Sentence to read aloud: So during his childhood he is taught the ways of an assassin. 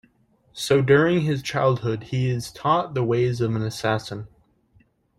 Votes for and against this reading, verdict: 2, 0, accepted